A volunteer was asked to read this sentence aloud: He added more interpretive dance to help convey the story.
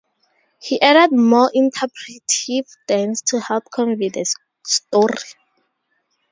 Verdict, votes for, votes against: rejected, 0, 2